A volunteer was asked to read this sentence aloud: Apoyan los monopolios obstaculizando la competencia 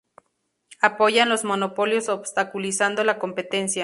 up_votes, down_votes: 2, 2